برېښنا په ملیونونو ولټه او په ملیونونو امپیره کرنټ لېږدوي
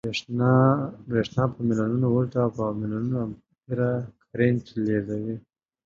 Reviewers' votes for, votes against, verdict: 2, 1, accepted